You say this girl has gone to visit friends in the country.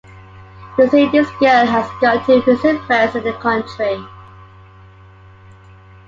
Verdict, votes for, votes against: accepted, 2, 1